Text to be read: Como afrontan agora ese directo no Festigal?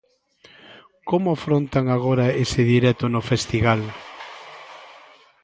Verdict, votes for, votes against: accepted, 2, 0